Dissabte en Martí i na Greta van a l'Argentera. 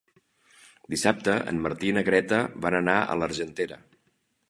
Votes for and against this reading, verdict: 0, 2, rejected